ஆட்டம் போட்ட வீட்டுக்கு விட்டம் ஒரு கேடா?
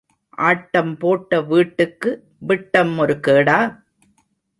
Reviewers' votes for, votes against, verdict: 2, 0, accepted